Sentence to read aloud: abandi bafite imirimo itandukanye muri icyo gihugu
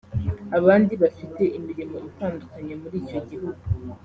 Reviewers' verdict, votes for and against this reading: accepted, 2, 0